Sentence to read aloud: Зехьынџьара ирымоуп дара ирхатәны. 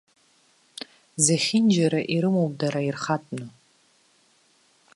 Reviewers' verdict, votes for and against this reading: rejected, 0, 2